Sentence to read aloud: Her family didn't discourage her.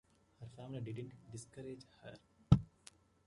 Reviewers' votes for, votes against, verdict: 1, 2, rejected